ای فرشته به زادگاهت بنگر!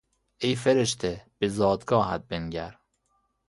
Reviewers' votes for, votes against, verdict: 2, 0, accepted